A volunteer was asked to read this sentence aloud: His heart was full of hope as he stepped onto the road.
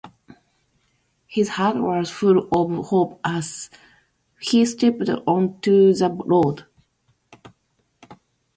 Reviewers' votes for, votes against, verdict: 2, 0, accepted